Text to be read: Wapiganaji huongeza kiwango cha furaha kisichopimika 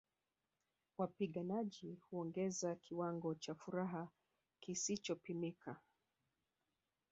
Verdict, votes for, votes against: rejected, 0, 2